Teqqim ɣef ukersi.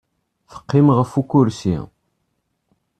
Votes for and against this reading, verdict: 2, 0, accepted